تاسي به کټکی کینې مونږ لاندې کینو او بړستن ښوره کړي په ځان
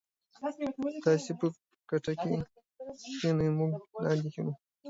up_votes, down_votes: 0, 2